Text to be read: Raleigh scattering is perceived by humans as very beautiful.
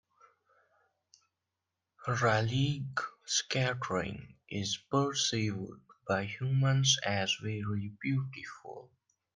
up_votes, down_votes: 0, 2